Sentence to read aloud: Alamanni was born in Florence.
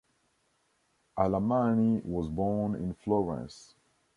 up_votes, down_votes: 2, 0